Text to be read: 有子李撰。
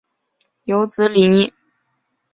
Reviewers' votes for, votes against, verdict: 0, 2, rejected